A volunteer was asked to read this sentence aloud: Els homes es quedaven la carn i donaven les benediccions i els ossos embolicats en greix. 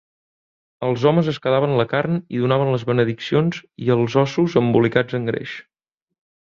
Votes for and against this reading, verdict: 2, 0, accepted